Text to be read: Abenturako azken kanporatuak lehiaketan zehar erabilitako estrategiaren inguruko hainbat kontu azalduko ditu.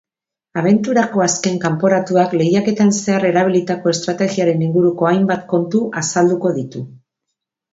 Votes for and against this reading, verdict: 3, 0, accepted